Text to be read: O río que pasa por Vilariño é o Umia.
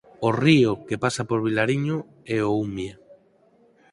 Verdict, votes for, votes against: accepted, 4, 0